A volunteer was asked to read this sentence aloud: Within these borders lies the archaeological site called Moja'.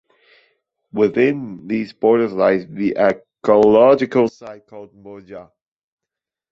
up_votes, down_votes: 1, 2